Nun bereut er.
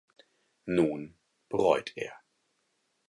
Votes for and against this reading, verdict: 2, 4, rejected